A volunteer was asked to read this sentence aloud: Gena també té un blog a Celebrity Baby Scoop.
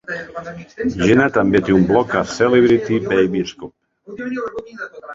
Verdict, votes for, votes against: rejected, 0, 3